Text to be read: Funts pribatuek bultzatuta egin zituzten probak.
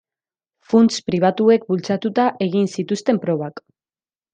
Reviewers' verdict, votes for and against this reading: accepted, 2, 0